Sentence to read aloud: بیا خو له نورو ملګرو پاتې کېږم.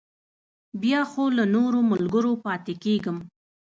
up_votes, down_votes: 2, 0